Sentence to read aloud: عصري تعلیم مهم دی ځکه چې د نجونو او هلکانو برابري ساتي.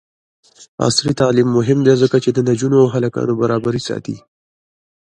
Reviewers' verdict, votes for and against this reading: rejected, 0, 2